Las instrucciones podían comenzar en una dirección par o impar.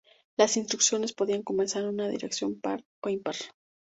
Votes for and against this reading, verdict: 2, 0, accepted